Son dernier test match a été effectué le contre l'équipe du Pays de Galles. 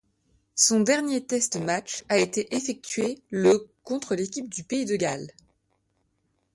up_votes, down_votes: 2, 0